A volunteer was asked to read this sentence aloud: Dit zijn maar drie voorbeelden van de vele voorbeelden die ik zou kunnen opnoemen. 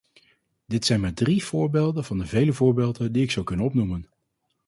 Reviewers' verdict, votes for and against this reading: accepted, 4, 0